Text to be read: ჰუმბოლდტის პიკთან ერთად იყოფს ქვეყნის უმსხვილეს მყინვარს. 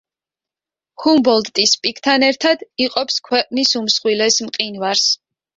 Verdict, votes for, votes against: accepted, 2, 0